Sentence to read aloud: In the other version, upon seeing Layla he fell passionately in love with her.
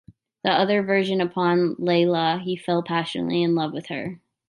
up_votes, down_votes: 0, 2